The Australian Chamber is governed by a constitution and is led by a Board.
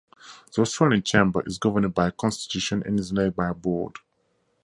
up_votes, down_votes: 2, 0